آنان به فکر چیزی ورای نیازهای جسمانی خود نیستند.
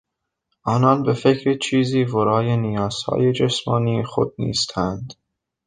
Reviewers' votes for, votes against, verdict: 0, 3, rejected